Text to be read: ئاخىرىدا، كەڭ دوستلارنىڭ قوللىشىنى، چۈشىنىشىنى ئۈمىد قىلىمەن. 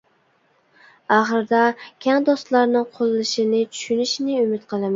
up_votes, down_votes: 1, 2